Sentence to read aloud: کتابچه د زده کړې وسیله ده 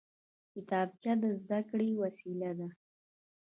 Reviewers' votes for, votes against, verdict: 1, 2, rejected